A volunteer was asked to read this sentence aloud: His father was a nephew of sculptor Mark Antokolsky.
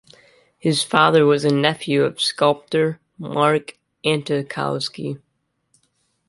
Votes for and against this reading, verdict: 2, 0, accepted